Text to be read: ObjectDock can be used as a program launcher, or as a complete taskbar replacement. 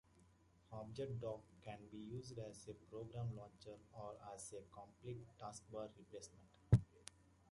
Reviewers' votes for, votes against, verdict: 0, 2, rejected